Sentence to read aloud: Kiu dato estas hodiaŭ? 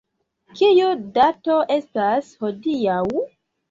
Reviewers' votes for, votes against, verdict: 2, 0, accepted